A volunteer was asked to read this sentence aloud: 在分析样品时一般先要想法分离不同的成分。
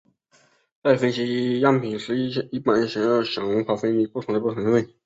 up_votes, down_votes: 0, 2